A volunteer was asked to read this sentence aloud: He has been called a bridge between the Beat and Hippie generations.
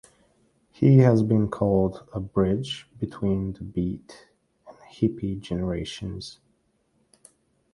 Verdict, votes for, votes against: accepted, 2, 1